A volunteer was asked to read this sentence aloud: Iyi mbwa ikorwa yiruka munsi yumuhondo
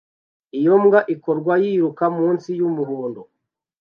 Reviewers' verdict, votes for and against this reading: rejected, 0, 2